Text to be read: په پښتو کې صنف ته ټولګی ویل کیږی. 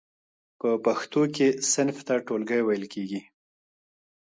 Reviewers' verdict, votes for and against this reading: rejected, 1, 2